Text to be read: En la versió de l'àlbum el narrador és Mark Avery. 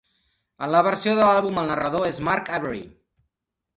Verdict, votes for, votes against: accepted, 2, 0